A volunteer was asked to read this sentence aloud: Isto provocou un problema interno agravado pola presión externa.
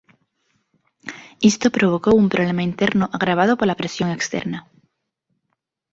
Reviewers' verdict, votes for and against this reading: accepted, 2, 0